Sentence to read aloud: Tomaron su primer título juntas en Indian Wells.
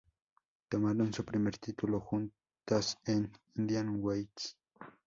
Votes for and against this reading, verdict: 0, 2, rejected